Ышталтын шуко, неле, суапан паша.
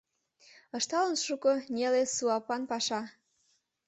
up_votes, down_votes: 0, 2